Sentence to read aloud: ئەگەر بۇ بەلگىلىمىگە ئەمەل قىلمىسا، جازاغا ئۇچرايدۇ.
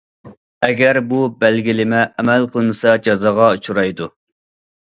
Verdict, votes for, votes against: rejected, 0, 2